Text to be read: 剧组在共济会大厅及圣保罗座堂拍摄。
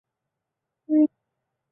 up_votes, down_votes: 0, 2